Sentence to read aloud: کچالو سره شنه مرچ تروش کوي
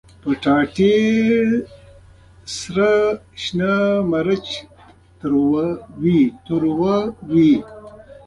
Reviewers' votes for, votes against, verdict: 0, 2, rejected